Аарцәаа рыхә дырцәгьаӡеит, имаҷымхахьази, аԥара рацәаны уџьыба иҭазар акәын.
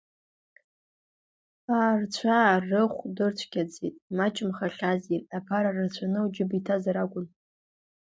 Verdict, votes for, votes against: accepted, 2, 1